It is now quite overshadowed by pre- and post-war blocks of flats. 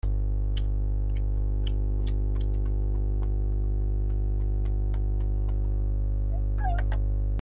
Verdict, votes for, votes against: rejected, 0, 2